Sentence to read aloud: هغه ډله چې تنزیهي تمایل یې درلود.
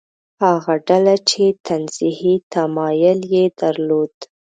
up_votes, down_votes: 4, 0